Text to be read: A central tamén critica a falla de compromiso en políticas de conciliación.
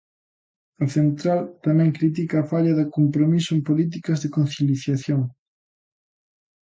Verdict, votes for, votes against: rejected, 0, 2